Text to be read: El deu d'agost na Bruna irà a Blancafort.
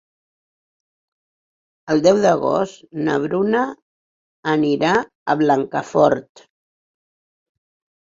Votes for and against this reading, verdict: 0, 4, rejected